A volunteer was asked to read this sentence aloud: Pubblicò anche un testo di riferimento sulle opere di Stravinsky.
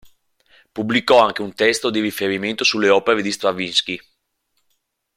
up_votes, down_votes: 3, 0